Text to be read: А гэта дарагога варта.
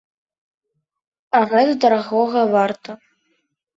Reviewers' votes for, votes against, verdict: 2, 0, accepted